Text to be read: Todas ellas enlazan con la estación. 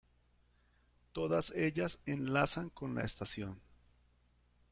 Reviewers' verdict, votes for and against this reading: rejected, 1, 2